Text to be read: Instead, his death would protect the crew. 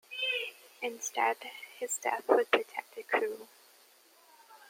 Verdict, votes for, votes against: rejected, 1, 2